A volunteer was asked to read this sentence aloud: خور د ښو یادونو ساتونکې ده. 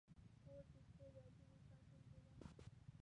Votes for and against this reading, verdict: 0, 2, rejected